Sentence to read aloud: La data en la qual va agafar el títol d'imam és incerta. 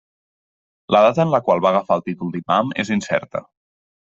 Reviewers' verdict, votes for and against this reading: accepted, 2, 0